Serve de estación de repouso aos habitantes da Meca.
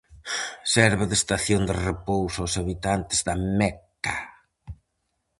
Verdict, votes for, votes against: accepted, 4, 0